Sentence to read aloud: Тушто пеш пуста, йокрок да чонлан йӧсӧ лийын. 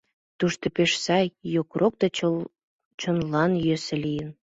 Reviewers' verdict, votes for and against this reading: rejected, 1, 2